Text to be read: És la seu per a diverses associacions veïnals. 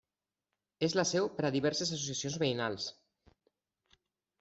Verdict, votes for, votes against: rejected, 0, 2